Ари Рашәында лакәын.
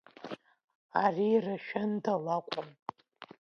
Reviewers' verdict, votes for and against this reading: accepted, 2, 1